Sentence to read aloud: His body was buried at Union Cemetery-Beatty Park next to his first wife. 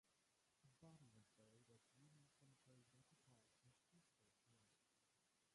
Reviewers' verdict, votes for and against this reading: rejected, 0, 2